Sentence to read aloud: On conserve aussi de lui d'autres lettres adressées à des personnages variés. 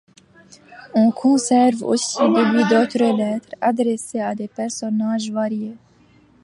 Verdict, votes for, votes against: accepted, 2, 0